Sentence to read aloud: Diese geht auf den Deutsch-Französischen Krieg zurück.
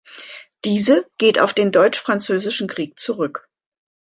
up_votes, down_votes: 2, 0